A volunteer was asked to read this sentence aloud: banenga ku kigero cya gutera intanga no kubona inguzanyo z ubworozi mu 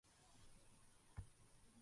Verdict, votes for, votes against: rejected, 0, 2